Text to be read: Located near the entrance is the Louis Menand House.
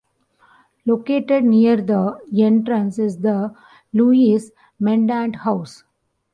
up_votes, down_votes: 1, 2